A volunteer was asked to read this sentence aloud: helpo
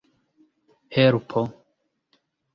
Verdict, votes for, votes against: rejected, 0, 2